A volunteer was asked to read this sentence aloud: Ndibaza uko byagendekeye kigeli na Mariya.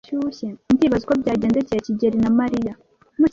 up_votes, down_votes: 1, 2